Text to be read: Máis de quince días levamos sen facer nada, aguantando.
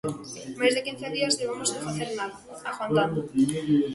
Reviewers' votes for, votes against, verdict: 2, 0, accepted